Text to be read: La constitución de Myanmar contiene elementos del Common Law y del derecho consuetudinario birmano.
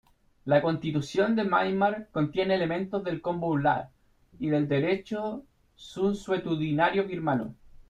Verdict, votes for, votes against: rejected, 1, 2